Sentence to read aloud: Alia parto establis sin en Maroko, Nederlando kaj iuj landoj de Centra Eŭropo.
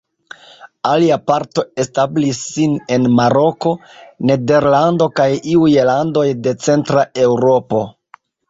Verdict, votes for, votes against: accepted, 2, 0